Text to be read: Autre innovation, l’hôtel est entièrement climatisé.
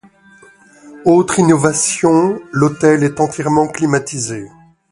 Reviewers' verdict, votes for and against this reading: accepted, 2, 0